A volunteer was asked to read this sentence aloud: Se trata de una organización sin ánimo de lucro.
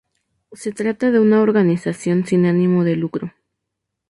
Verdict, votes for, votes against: rejected, 0, 2